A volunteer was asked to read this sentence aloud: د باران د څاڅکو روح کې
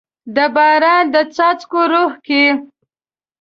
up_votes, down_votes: 8, 0